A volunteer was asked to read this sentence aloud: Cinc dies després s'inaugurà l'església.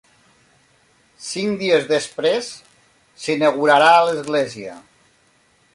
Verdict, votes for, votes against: rejected, 0, 2